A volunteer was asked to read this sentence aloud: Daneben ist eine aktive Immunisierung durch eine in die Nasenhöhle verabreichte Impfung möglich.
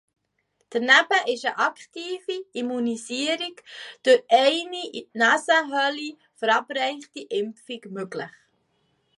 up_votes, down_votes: 0, 2